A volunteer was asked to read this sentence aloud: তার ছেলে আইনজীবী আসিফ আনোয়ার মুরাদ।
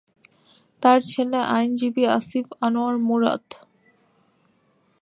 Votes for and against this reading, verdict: 2, 0, accepted